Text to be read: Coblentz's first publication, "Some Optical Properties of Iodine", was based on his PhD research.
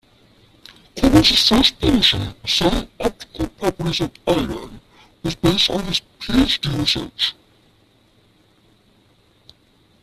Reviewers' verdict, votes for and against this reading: rejected, 0, 2